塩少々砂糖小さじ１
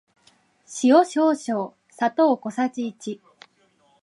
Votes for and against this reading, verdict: 0, 2, rejected